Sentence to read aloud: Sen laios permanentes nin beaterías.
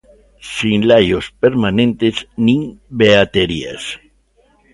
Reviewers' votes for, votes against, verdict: 1, 2, rejected